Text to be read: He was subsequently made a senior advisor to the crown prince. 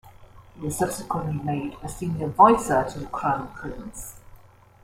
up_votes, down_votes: 1, 2